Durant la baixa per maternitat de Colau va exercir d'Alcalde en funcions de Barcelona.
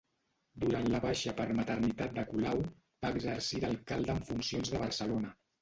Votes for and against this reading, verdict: 0, 2, rejected